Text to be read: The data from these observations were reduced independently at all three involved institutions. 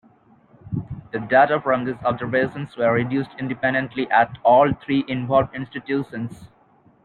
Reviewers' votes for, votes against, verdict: 2, 1, accepted